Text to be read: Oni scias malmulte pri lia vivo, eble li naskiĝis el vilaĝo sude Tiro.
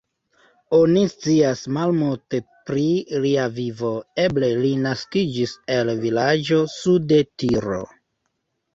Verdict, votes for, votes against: accepted, 2, 0